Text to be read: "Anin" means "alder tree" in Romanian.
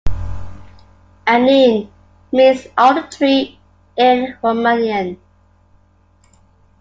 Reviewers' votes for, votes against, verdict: 2, 0, accepted